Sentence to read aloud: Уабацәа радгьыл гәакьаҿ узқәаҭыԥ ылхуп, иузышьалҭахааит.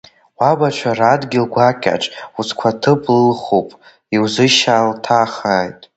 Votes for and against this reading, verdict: 0, 2, rejected